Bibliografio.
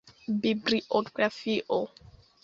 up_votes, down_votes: 2, 0